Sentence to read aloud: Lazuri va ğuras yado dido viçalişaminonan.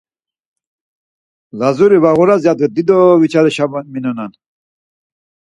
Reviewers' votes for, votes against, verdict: 2, 4, rejected